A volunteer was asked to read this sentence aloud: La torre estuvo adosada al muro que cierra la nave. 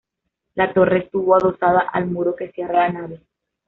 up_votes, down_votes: 1, 2